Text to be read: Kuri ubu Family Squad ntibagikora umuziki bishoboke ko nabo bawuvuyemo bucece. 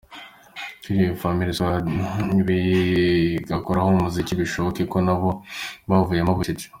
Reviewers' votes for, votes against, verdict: 1, 2, rejected